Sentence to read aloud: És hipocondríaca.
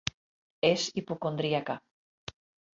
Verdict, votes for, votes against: accepted, 3, 0